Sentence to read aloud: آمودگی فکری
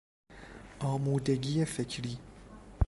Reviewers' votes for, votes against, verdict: 2, 0, accepted